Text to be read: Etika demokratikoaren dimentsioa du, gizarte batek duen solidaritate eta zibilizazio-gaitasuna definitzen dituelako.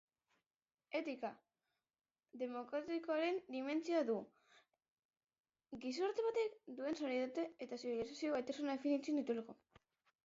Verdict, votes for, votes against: rejected, 1, 2